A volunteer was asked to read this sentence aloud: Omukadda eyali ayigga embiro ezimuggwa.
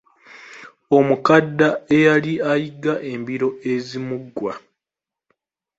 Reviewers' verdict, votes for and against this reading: accepted, 2, 0